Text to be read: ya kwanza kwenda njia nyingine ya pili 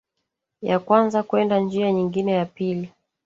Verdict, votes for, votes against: rejected, 1, 2